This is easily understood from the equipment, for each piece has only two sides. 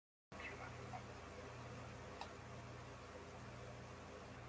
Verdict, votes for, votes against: rejected, 0, 2